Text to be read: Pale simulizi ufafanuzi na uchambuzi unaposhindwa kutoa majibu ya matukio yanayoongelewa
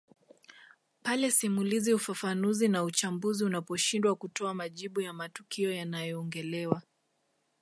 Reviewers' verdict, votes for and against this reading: accepted, 2, 0